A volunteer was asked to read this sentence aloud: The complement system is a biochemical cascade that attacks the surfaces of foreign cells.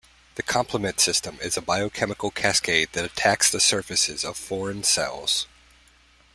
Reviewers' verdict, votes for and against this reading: accepted, 2, 0